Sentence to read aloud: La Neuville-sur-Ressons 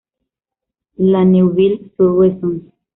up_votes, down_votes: 0, 2